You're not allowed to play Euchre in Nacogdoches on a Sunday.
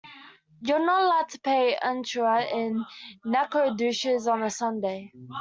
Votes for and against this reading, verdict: 2, 1, accepted